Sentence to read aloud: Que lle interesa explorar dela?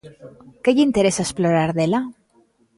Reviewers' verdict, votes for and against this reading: accepted, 3, 0